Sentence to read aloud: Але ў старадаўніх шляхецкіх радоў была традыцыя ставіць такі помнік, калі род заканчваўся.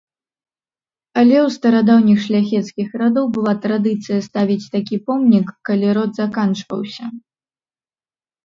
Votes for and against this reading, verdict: 2, 0, accepted